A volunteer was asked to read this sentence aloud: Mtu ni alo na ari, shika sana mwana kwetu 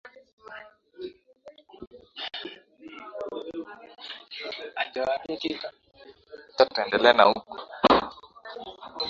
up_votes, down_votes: 0, 7